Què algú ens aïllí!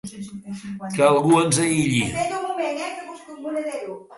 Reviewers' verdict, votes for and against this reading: rejected, 0, 2